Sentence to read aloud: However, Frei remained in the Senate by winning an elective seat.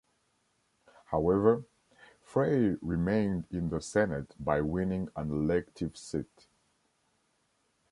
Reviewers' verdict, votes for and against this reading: accepted, 2, 0